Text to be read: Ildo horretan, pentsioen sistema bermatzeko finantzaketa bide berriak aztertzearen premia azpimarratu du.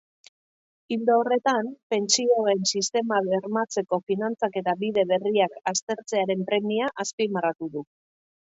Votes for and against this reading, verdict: 2, 0, accepted